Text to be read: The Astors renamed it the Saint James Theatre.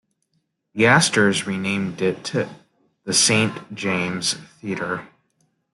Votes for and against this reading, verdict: 2, 0, accepted